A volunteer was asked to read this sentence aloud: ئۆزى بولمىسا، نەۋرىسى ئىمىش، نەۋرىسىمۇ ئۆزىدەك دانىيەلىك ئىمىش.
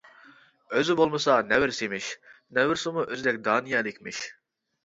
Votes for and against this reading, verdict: 0, 2, rejected